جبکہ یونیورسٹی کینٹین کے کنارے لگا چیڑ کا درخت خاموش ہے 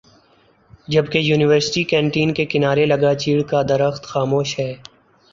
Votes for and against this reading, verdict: 2, 3, rejected